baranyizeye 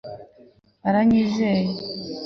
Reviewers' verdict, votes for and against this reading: accepted, 2, 0